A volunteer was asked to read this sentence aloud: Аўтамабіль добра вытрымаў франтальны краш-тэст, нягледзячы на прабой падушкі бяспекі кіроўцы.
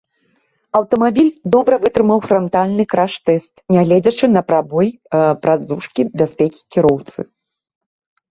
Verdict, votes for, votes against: rejected, 0, 2